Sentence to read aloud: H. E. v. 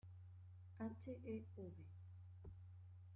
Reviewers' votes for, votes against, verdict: 2, 0, accepted